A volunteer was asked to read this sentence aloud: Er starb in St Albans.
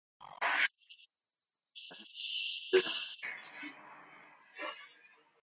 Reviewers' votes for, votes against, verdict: 0, 2, rejected